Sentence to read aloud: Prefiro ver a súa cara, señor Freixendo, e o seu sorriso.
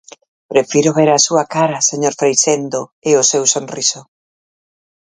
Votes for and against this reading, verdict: 2, 4, rejected